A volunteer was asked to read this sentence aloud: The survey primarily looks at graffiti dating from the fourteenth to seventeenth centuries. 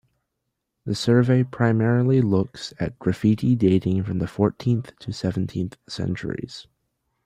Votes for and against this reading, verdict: 2, 0, accepted